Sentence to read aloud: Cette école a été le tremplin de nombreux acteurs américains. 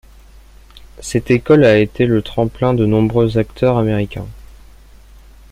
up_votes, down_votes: 2, 0